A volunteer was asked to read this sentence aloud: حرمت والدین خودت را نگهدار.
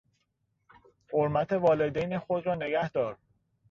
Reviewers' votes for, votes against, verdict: 1, 2, rejected